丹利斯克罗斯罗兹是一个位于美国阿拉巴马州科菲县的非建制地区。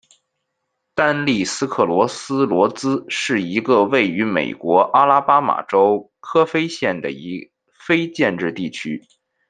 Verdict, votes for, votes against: rejected, 1, 2